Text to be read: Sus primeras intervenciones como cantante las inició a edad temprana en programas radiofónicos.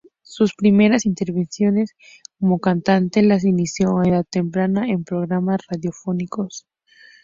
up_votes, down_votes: 4, 0